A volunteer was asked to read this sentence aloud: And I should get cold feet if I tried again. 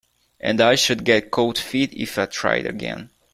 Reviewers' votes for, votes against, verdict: 2, 0, accepted